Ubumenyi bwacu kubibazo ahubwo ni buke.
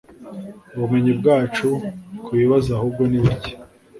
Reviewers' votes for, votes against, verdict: 2, 0, accepted